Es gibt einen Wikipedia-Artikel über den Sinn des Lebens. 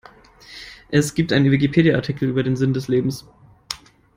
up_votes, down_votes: 0, 2